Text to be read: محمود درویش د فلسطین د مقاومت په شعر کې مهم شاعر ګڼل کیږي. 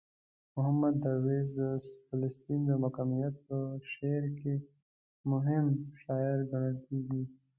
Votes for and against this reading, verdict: 0, 2, rejected